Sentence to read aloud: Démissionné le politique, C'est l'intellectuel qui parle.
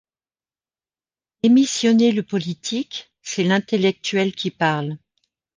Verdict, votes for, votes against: rejected, 0, 2